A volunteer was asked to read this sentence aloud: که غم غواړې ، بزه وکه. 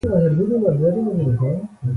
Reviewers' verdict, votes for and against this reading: rejected, 0, 2